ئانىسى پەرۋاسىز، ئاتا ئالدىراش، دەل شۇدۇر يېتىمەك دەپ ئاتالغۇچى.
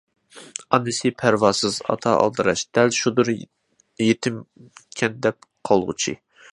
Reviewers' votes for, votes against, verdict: 0, 2, rejected